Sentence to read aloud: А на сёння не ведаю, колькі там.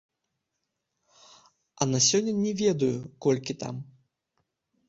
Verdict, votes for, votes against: rejected, 1, 2